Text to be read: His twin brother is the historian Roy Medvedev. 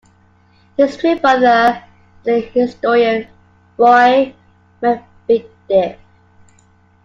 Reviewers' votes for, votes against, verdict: 0, 2, rejected